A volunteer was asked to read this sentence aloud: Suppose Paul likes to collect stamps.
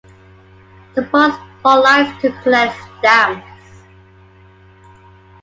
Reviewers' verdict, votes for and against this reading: accepted, 2, 0